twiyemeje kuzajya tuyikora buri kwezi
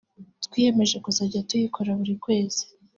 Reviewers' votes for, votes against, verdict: 2, 1, accepted